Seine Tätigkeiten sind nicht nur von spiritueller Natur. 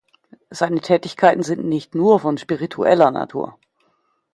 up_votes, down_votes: 2, 0